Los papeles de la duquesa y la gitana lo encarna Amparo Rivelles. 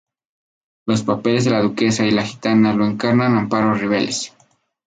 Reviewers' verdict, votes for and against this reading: rejected, 0, 2